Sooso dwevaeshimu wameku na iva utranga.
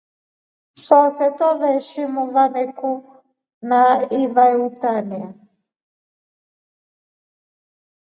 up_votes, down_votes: 2, 1